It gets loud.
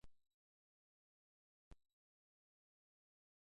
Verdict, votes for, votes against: rejected, 0, 2